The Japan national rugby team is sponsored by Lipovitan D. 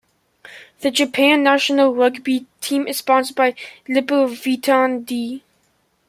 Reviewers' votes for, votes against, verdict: 2, 0, accepted